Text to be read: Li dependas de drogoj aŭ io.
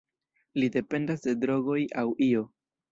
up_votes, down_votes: 1, 2